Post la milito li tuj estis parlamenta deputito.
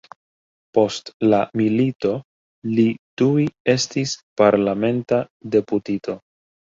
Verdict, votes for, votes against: accepted, 2, 0